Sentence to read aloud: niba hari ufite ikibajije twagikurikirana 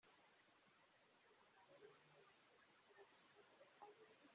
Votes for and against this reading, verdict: 0, 2, rejected